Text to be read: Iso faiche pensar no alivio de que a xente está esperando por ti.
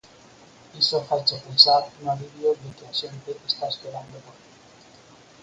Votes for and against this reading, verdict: 2, 4, rejected